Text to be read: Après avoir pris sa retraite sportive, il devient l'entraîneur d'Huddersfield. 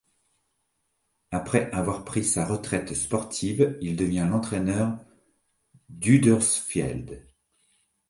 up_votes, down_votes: 1, 3